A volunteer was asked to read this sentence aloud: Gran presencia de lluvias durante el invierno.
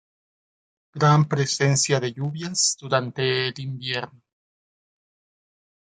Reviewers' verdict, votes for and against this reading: accepted, 2, 0